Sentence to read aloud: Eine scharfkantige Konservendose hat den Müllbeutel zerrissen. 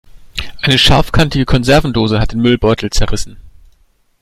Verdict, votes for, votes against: accepted, 2, 0